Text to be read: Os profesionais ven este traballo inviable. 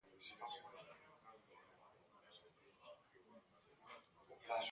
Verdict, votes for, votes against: rejected, 0, 2